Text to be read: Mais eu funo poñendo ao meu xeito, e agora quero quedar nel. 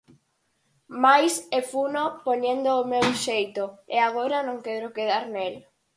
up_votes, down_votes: 0, 6